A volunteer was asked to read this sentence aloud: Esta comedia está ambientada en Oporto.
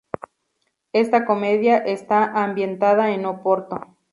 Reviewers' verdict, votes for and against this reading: rejected, 0, 2